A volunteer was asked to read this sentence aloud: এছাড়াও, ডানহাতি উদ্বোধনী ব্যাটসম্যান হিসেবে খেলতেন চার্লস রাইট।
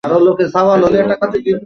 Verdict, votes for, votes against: rejected, 0, 2